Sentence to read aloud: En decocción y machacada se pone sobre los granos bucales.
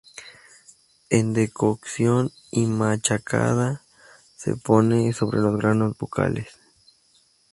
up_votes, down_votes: 2, 2